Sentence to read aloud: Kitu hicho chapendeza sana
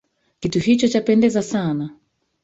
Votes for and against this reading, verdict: 1, 2, rejected